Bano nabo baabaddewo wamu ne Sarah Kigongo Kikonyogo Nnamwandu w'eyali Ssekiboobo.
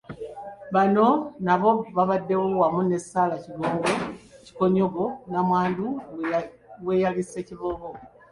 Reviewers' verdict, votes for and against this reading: rejected, 1, 2